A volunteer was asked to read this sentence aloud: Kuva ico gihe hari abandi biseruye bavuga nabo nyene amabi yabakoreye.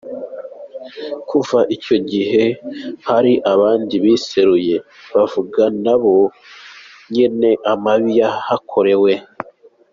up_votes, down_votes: 1, 2